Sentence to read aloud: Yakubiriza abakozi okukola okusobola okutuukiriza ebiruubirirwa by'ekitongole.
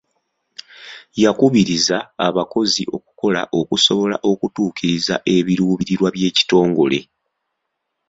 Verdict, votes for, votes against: accepted, 2, 0